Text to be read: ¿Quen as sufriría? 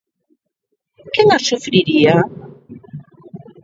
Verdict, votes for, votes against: accepted, 2, 1